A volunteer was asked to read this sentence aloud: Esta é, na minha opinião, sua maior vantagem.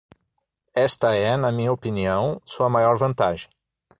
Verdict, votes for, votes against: accepted, 6, 0